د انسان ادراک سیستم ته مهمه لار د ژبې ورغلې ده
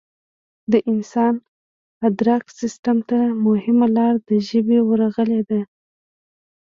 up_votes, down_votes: 1, 2